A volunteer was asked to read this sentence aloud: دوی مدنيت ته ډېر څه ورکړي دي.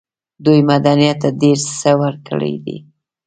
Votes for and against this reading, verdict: 2, 0, accepted